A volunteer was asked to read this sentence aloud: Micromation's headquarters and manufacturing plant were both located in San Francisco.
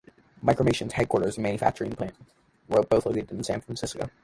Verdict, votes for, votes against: rejected, 0, 2